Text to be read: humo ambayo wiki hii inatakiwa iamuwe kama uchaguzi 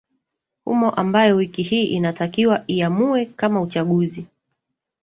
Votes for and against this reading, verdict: 2, 0, accepted